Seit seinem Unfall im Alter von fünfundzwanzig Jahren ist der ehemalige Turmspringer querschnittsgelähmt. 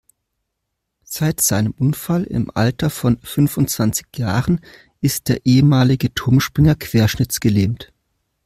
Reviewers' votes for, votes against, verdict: 2, 0, accepted